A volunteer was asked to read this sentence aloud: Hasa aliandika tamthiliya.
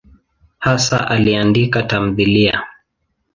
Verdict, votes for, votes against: accepted, 2, 0